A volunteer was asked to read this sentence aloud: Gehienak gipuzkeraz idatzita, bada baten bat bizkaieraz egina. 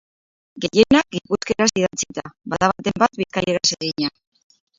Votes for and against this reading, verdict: 0, 2, rejected